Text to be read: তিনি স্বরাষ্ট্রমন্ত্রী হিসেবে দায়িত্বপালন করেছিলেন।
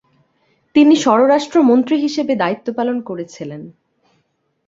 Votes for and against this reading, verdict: 0, 2, rejected